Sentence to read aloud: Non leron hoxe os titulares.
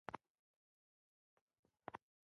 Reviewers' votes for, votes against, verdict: 0, 2, rejected